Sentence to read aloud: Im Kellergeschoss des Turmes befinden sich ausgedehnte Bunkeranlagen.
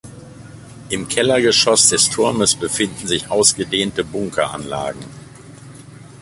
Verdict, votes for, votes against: accepted, 2, 0